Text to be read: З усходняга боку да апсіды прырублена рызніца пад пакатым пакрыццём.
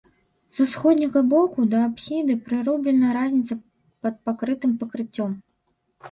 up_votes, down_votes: 0, 3